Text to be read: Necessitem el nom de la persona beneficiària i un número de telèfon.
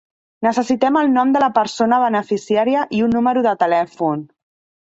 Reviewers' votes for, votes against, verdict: 3, 0, accepted